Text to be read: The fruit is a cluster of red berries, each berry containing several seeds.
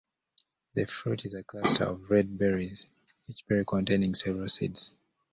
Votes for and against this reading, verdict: 0, 2, rejected